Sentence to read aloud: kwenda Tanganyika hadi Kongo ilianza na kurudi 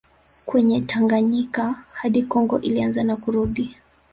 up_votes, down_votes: 1, 2